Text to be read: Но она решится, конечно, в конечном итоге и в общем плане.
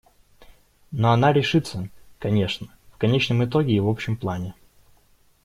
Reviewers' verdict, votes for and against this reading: accepted, 2, 0